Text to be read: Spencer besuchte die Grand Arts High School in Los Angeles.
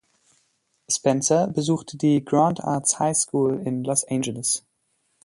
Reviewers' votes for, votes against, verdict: 2, 0, accepted